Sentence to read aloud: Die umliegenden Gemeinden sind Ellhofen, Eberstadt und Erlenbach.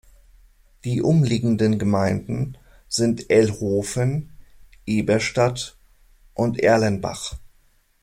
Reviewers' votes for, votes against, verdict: 2, 0, accepted